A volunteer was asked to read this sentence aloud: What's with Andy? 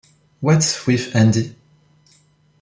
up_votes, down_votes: 2, 0